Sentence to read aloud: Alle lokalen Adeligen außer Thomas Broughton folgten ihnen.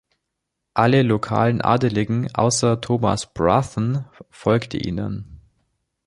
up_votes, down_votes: 0, 2